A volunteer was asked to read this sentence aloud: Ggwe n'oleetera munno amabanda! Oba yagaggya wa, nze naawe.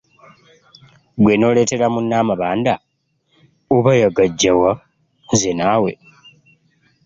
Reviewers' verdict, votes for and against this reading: accepted, 2, 1